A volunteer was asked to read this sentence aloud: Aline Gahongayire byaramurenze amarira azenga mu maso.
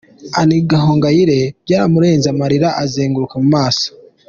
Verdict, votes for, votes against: rejected, 1, 2